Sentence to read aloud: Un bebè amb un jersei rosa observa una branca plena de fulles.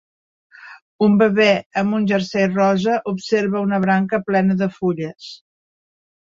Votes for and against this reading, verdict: 4, 0, accepted